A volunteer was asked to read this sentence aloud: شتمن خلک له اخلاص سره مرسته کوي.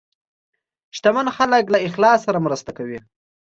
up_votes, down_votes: 2, 0